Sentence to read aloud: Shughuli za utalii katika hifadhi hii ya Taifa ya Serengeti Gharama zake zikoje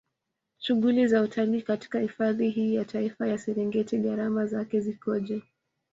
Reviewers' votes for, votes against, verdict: 0, 2, rejected